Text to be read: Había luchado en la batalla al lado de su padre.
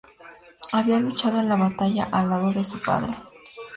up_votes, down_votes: 2, 0